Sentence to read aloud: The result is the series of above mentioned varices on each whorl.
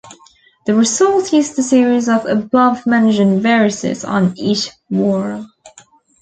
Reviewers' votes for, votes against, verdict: 1, 2, rejected